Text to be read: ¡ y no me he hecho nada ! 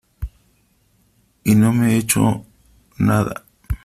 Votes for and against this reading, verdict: 0, 2, rejected